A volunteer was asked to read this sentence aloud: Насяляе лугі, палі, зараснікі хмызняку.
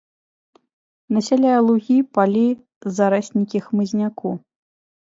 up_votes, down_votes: 3, 0